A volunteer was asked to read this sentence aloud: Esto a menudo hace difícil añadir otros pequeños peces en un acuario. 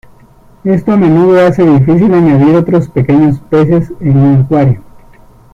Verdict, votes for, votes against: accepted, 2, 0